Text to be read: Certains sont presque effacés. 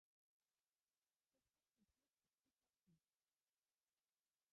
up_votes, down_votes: 0, 2